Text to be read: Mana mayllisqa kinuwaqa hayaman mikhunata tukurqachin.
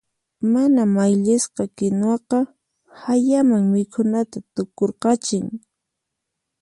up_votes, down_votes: 4, 0